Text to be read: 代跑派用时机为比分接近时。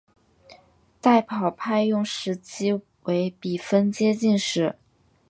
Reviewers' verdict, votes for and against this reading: rejected, 1, 2